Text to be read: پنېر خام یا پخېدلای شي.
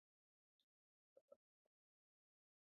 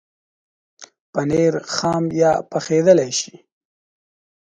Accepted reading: second